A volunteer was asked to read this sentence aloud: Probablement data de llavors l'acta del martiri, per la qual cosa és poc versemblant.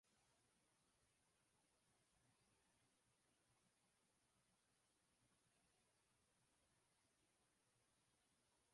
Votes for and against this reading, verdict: 0, 2, rejected